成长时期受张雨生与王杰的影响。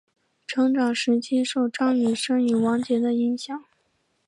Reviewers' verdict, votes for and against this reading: accepted, 5, 0